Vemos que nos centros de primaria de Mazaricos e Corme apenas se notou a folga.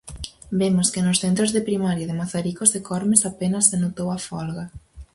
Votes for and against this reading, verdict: 0, 4, rejected